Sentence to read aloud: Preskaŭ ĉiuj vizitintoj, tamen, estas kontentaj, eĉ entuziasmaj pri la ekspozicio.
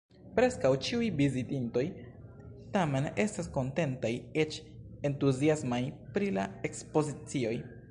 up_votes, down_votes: 1, 2